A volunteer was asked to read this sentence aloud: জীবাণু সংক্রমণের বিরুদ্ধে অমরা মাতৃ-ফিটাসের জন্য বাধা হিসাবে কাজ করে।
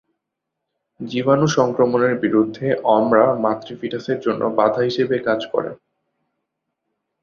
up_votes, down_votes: 2, 0